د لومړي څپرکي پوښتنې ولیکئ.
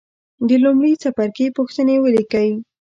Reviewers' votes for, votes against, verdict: 2, 0, accepted